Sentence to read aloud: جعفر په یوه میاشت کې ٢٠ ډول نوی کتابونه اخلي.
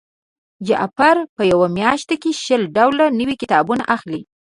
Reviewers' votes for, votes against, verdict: 0, 2, rejected